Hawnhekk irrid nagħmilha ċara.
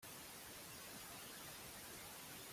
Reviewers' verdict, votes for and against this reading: rejected, 0, 2